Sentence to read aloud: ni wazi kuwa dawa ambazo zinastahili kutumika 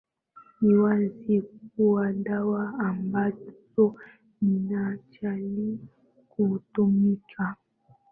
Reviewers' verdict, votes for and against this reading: accepted, 2, 0